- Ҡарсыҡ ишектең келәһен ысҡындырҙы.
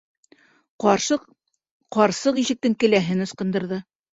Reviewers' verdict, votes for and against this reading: rejected, 1, 2